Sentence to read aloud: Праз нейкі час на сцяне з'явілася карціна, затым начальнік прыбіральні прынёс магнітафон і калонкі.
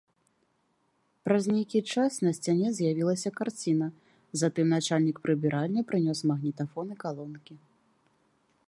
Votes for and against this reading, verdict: 2, 1, accepted